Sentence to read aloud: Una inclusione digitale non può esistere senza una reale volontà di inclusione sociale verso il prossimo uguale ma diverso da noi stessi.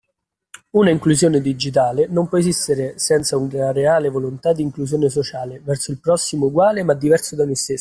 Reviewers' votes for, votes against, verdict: 2, 0, accepted